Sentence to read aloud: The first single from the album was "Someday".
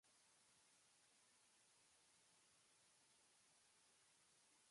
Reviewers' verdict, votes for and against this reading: rejected, 0, 2